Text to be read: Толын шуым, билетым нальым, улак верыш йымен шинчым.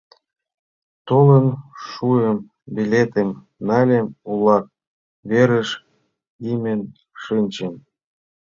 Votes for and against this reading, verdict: 1, 2, rejected